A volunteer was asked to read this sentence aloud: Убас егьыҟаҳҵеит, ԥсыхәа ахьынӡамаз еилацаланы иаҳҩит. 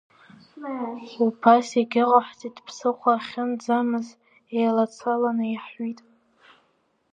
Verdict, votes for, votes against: rejected, 1, 2